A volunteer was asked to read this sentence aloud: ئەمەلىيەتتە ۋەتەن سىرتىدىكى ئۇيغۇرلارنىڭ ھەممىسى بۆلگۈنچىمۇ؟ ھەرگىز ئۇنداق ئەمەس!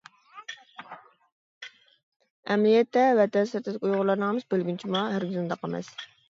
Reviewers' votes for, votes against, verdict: 1, 2, rejected